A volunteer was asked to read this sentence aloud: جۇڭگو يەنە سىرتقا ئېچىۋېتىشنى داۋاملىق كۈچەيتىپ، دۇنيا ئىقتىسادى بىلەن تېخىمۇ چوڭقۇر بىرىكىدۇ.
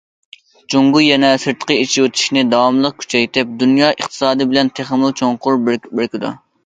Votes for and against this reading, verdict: 0, 2, rejected